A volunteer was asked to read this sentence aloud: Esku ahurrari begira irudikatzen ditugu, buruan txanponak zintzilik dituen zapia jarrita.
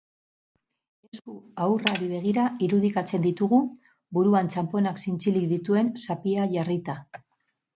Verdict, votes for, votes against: rejected, 4, 6